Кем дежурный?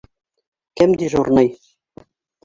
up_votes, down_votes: 2, 1